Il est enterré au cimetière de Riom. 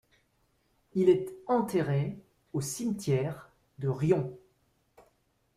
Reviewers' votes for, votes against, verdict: 1, 2, rejected